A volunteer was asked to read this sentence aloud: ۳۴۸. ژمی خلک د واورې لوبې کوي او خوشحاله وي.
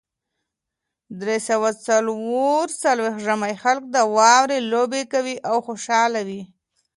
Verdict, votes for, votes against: rejected, 0, 2